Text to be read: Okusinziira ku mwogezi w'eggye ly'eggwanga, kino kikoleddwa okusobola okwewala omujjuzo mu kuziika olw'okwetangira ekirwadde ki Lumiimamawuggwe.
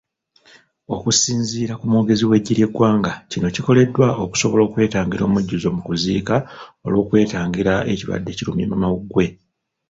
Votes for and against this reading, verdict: 1, 2, rejected